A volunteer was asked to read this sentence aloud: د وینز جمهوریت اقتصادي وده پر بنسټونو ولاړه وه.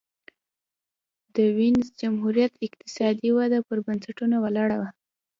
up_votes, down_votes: 0, 2